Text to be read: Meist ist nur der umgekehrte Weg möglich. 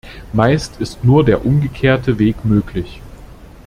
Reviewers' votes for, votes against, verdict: 2, 0, accepted